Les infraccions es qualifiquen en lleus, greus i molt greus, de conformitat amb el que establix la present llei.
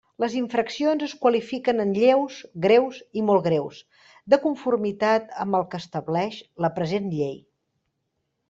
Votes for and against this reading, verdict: 1, 2, rejected